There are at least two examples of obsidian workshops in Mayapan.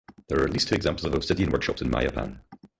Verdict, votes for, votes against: rejected, 0, 4